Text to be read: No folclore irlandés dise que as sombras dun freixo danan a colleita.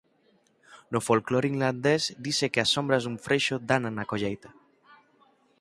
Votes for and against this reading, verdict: 2, 6, rejected